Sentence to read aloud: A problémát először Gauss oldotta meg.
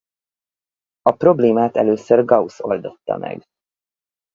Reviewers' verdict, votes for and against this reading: accepted, 4, 0